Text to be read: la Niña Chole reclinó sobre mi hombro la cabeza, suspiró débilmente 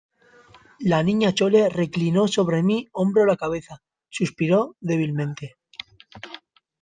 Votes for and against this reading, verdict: 0, 2, rejected